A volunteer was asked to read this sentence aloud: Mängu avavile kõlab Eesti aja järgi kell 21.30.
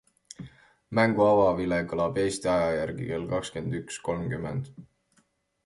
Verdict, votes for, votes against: rejected, 0, 2